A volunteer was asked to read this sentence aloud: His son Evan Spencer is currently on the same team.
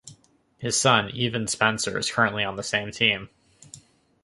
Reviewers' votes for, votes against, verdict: 2, 1, accepted